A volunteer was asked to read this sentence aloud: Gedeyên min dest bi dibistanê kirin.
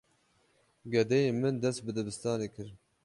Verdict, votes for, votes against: accepted, 12, 0